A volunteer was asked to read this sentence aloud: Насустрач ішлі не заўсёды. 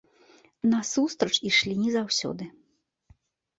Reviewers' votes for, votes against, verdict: 2, 0, accepted